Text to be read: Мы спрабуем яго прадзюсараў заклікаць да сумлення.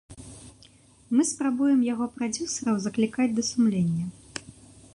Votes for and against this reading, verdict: 2, 0, accepted